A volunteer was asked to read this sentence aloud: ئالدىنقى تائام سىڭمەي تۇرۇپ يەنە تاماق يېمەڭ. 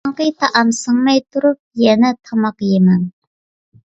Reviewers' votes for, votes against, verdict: 2, 1, accepted